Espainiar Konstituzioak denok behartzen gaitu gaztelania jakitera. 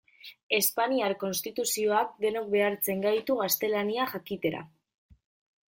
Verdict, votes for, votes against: accepted, 2, 0